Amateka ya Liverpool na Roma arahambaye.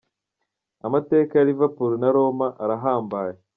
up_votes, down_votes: 2, 0